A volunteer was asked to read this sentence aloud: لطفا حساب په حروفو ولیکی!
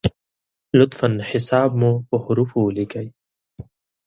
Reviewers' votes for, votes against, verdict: 0, 2, rejected